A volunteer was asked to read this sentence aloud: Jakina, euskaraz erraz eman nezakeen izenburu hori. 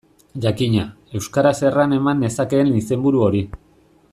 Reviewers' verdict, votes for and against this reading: rejected, 1, 2